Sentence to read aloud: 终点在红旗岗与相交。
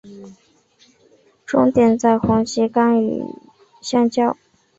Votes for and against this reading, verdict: 5, 0, accepted